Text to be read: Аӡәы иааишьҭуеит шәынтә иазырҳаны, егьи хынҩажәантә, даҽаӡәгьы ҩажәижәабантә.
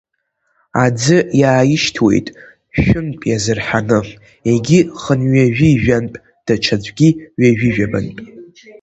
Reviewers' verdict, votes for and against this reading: rejected, 0, 2